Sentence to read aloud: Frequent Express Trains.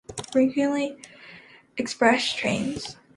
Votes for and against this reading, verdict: 0, 2, rejected